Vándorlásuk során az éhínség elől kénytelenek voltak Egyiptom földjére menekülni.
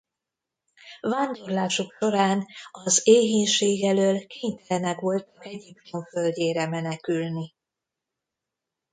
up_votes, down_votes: 0, 2